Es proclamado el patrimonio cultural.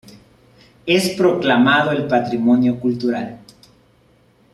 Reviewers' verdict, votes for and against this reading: accepted, 3, 0